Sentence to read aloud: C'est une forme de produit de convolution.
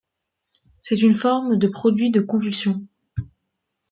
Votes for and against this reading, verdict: 0, 2, rejected